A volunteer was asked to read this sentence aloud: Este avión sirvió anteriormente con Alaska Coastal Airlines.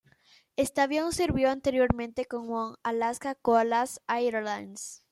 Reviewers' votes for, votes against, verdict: 0, 2, rejected